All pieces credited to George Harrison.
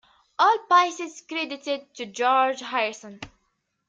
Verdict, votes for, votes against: rejected, 0, 2